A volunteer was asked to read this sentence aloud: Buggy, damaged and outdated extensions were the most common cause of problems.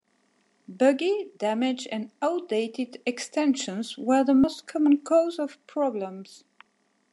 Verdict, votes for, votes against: accepted, 2, 0